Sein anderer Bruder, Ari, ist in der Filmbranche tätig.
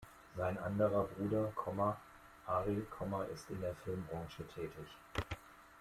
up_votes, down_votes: 1, 2